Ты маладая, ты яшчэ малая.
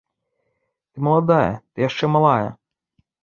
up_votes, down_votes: 0, 2